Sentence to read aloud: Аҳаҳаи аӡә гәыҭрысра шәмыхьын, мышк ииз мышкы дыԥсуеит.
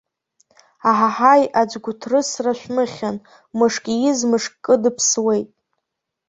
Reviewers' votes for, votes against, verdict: 2, 1, accepted